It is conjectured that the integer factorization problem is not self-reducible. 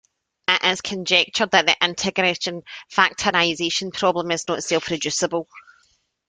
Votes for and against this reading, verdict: 2, 0, accepted